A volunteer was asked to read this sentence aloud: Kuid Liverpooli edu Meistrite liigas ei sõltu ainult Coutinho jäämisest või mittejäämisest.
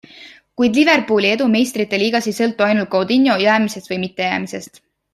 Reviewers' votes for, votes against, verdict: 2, 0, accepted